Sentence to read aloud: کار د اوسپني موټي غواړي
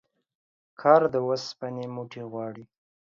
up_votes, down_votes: 0, 2